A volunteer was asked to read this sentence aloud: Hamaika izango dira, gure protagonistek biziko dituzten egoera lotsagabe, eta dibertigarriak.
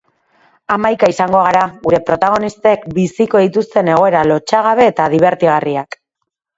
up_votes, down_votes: 0, 2